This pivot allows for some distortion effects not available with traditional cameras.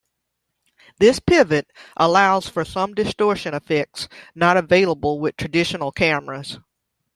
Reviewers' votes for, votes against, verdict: 2, 0, accepted